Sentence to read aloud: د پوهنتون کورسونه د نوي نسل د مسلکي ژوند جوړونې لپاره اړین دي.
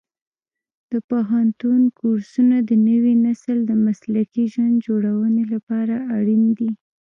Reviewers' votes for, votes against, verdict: 1, 2, rejected